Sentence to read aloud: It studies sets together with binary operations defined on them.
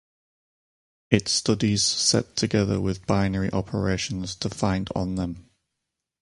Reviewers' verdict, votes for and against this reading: rejected, 0, 4